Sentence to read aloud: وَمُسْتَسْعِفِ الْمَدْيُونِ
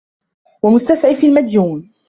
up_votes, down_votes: 0, 2